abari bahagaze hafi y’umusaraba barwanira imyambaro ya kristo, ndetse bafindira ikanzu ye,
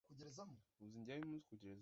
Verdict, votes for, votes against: rejected, 0, 2